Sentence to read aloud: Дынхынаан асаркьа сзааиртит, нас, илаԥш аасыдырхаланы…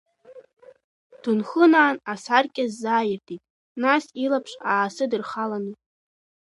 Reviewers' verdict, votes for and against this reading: rejected, 0, 2